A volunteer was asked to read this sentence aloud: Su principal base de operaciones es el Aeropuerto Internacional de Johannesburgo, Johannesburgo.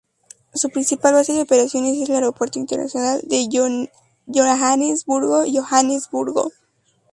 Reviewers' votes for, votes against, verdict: 2, 0, accepted